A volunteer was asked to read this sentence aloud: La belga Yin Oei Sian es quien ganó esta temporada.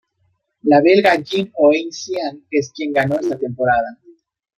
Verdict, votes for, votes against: accepted, 2, 0